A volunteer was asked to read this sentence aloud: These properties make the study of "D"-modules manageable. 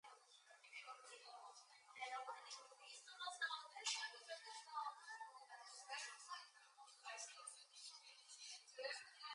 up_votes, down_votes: 0, 2